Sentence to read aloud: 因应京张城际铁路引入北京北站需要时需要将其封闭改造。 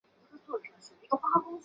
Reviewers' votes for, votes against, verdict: 0, 4, rejected